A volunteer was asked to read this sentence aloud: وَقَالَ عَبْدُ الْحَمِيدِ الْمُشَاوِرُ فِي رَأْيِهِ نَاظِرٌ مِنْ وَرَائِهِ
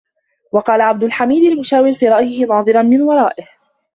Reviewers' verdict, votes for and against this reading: rejected, 0, 2